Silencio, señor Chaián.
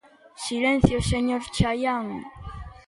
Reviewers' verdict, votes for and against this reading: accepted, 2, 0